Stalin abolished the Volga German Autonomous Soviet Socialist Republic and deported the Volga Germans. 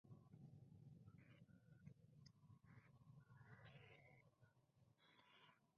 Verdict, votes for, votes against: rejected, 0, 2